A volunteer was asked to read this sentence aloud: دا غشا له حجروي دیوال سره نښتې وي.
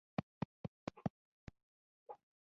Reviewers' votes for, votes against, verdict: 1, 2, rejected